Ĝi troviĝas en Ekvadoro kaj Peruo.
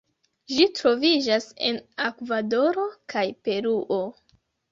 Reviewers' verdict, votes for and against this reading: rejected, 0, 2